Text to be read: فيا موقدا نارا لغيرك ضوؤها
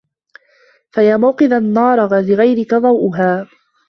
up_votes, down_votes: 1, 2